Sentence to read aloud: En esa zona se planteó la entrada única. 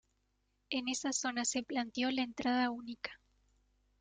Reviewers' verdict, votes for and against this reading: rejected, 1, 2